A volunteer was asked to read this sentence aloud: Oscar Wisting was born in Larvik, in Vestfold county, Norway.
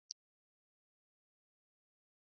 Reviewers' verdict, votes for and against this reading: rejected, 0, 2